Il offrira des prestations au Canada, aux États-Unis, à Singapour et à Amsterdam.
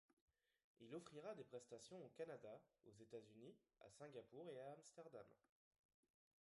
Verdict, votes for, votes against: rejected, 1, 2